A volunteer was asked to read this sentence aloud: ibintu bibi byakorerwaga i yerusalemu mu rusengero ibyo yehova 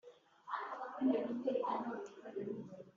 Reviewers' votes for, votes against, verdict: 0, 2, rejected